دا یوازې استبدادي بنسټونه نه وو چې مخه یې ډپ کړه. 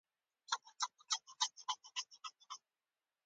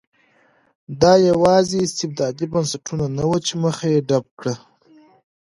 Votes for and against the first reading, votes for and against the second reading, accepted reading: 0, 2, 2, 0, second